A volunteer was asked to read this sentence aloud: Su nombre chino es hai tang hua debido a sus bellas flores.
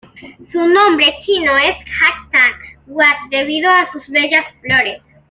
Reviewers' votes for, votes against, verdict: 2, 0, accepted